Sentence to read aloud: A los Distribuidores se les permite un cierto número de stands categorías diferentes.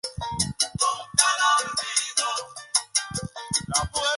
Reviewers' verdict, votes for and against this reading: rejected, 2, 2